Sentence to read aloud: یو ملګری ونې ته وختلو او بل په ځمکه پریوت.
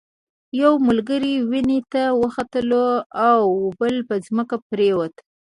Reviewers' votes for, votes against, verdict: 1, 2, rejected